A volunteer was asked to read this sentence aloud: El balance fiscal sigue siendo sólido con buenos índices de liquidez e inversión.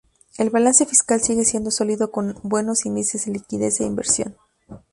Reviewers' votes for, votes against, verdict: 0, 2, rejected